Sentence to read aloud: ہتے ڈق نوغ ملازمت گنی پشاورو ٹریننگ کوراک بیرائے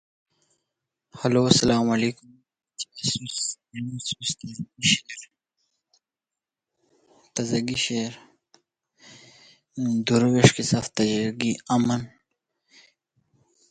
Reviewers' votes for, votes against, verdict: 0, 2, rejected